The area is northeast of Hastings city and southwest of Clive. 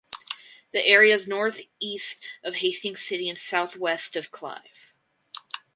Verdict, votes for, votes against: accepted, 6, 0